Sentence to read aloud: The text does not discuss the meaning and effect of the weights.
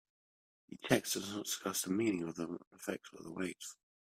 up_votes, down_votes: 0, 2